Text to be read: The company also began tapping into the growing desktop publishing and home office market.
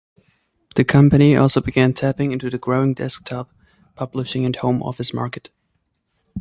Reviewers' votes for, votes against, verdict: 2, 0, accepted